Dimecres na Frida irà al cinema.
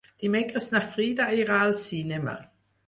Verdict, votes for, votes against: accepted, 4, 0